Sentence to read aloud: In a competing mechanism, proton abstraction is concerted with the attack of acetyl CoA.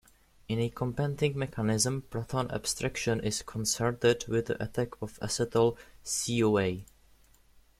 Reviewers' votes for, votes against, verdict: 2, 0, accepted